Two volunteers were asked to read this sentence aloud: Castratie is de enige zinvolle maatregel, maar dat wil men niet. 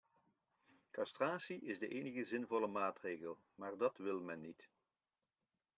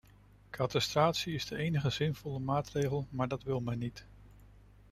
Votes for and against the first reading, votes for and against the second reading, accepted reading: 2, 0, 0, 2, first